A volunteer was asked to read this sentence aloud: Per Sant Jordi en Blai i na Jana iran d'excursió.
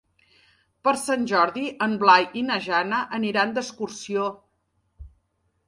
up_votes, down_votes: 0, 2